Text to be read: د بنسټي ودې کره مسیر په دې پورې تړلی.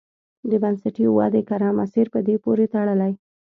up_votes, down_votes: 2, 0